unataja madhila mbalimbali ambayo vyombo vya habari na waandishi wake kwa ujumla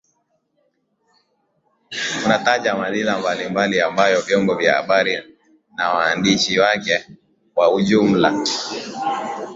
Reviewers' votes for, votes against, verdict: 2, 1, accepted